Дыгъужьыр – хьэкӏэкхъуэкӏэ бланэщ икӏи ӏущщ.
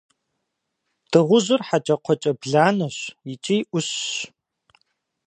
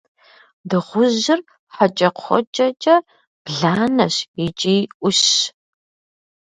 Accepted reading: first